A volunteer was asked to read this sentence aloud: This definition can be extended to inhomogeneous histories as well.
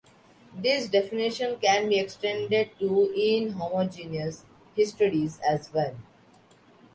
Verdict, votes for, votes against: accepted, 2, 0